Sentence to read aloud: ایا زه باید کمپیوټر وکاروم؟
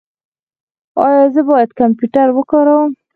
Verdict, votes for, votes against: rejected, 2, 4